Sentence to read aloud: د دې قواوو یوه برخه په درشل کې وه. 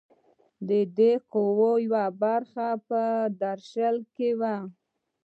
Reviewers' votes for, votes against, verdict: 2, 0, accepted